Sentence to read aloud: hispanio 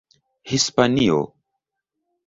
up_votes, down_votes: 2, 0